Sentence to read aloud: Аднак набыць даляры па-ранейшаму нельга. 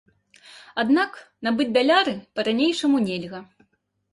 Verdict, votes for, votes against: accepted, 2, 0